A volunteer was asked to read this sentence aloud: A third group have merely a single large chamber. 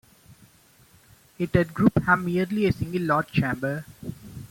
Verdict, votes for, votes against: rejected, 1, 2